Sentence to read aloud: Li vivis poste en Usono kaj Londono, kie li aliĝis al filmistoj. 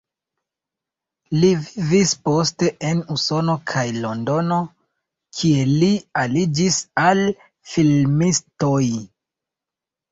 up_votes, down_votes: 2, 1